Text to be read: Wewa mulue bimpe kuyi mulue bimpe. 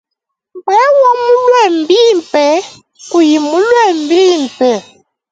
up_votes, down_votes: 0, 2